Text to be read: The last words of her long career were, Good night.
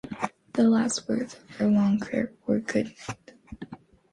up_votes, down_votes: 1, 2